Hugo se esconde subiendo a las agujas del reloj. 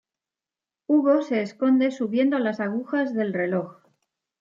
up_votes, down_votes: 2, 0